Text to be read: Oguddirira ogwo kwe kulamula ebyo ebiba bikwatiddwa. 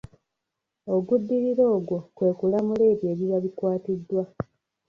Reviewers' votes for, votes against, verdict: 1, 2, rejected